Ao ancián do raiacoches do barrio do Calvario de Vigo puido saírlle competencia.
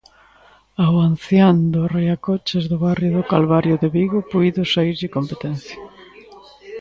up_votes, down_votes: 0, 2